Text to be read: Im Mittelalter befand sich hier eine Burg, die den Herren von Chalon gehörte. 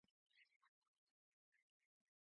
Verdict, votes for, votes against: rejected, 0, 2